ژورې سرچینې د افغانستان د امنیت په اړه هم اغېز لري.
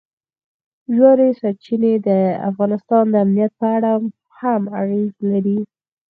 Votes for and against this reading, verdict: 4, 0, accepted